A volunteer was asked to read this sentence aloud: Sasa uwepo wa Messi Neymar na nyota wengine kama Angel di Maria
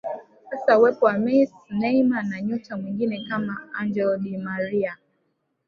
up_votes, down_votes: 1, 2